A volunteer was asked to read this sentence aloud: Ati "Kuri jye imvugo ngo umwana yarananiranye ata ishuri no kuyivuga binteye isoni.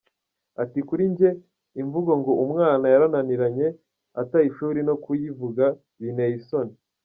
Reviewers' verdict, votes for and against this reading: rejected, 1, 2